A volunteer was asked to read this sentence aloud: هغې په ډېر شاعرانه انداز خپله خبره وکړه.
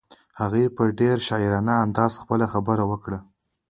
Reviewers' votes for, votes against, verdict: 2, 0, accepted